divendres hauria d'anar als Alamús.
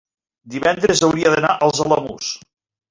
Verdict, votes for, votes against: rejected, 1, 2